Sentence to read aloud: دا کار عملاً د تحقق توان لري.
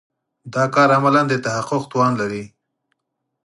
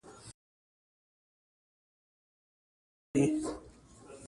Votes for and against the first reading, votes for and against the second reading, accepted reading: 4, 0, 0, 2, first